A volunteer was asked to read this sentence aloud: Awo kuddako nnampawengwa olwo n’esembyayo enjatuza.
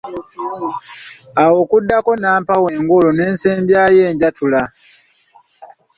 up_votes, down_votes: 0, 2